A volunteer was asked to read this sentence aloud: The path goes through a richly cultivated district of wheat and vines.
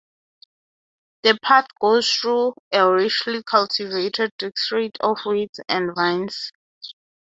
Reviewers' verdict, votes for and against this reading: accepted, 9, 0